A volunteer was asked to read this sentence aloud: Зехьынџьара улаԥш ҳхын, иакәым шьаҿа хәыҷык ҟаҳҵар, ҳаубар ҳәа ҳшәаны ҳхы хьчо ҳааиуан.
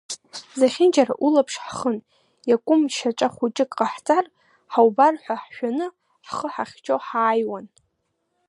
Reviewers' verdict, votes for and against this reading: rejected, 0, 2